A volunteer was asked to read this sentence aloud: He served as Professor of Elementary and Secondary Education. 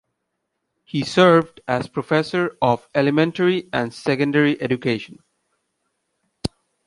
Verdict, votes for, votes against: accepted, 2, 0